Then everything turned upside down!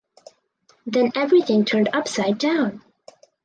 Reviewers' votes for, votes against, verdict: 4, 2, accepted